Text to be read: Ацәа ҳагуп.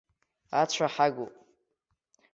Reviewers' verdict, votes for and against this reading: accepted, 3, 0